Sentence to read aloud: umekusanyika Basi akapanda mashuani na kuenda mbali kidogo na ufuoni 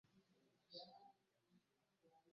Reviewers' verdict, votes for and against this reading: rejected, 0, 2